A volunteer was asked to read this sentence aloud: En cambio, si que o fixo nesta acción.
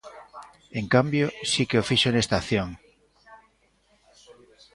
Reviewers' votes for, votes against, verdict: 2, 0, accepted